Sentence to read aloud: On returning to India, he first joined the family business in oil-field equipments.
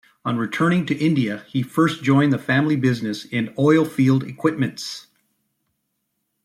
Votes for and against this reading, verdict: 2, 0, accepted